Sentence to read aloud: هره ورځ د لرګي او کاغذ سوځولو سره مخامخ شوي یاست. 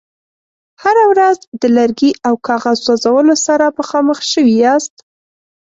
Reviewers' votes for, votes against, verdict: 2, 0, accepted